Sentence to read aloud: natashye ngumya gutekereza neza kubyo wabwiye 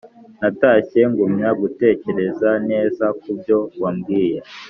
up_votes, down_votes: 2, 0